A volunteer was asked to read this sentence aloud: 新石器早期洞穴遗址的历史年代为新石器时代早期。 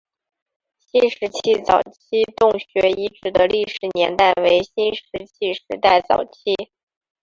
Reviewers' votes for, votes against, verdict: 0, 2, rejected